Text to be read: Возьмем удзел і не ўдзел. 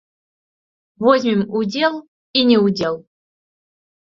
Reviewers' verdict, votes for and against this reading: rejected, 0, 2